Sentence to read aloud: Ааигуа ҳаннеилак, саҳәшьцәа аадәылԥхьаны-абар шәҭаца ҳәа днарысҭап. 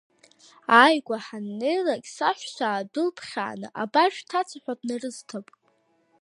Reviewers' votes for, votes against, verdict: 1, 2, rejected